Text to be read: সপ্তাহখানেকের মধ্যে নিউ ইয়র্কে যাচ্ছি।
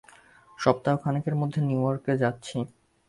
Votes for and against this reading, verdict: 2, 0, accepted